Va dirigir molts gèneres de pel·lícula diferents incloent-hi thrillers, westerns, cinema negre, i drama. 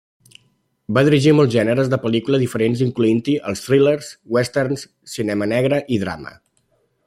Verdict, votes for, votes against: accepted, 2, 0